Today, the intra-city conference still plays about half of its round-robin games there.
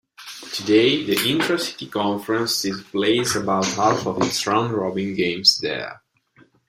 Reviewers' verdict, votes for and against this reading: accepted, 2, 1